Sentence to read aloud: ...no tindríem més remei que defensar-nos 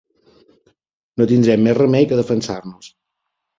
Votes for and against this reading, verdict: 1, 2, rejected